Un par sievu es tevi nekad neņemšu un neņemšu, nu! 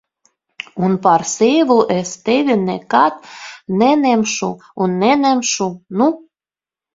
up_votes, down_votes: 1, 2